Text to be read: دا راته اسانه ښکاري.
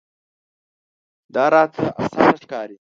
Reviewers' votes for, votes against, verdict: 0, 2, rejected